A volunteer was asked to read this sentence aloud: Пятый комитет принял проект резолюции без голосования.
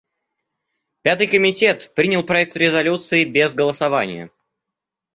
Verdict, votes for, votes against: accepted, 2, 0